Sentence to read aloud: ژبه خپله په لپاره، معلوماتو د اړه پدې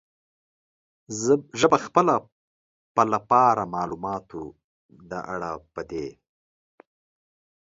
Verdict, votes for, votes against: rejected, 1, 2